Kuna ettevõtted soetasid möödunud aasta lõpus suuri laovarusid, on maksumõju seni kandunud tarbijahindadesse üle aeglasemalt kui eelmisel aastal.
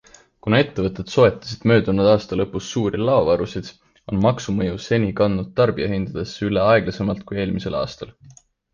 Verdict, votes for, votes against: accepted, 2, 0